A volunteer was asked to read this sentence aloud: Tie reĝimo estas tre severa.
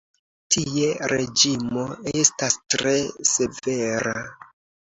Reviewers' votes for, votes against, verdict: 2, 1, accepted